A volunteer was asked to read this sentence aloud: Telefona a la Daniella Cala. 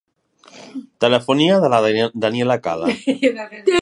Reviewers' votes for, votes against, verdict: 0, 2, rejected